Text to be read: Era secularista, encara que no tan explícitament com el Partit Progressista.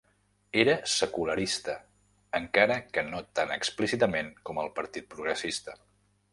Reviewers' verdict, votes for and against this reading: accepted, 3, 0